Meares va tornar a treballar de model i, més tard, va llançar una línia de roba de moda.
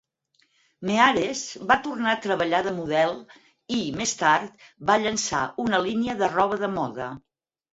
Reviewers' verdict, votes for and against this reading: accepted, 6, 0